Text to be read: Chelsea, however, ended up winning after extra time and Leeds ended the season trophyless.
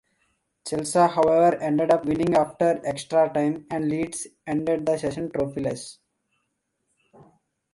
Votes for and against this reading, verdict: 2, 1, accepted